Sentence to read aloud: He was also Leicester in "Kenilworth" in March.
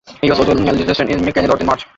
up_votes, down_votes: 0, 2